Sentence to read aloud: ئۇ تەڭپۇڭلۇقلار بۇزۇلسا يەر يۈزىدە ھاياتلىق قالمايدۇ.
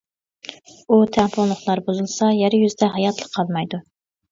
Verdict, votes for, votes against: accepted, 2, 1